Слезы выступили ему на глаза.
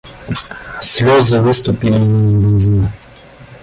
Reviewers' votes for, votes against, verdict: 0, 2, rejected